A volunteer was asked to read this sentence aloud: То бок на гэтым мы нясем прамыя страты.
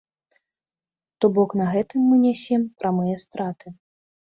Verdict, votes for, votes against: accepted, 2, 0